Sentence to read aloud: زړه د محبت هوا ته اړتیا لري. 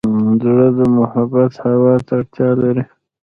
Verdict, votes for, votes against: accepted, 2, 1